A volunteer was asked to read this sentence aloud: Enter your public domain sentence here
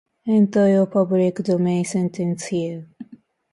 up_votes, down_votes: 2, 1